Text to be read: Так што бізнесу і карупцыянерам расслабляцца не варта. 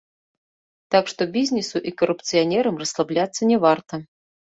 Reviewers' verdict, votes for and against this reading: accepted, 2, 1